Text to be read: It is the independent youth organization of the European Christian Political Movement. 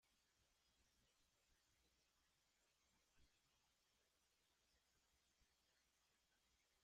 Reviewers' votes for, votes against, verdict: 0, 2, rejected